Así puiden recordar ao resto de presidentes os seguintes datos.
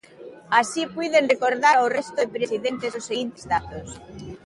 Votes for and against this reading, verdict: 2, 0, accepted